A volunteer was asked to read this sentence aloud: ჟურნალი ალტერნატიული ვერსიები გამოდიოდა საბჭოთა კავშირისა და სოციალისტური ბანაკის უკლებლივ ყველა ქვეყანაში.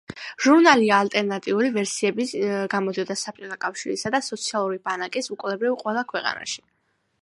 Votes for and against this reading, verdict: 1, 2, rejected